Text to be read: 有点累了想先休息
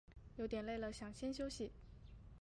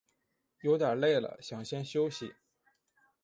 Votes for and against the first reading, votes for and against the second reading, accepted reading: 0, 2, 4, 0, second